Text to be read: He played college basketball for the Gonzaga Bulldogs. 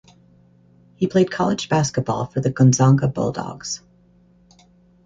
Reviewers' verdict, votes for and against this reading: rejected, 2, 4